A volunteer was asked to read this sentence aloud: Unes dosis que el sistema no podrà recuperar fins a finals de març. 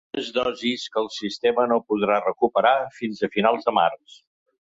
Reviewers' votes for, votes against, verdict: 0, 2, rejected